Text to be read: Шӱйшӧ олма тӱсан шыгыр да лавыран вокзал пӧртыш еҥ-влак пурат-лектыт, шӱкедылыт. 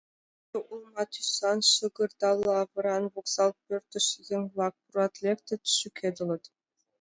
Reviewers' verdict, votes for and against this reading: rejected, 0, 2